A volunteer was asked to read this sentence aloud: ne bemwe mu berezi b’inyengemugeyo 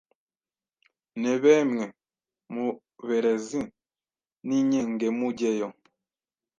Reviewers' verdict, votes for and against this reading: rejected, 1, 2